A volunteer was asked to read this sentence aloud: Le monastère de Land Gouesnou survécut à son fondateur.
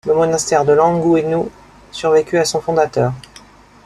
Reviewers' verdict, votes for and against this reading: accepted, 2, 0